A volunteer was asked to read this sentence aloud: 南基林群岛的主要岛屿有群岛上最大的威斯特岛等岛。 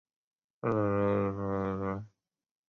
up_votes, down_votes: 1, 4